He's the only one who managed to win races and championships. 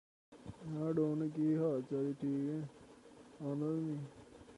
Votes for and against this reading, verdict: 0, 2, rejected